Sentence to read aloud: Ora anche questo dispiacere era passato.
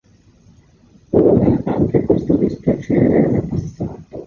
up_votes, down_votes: 0, 2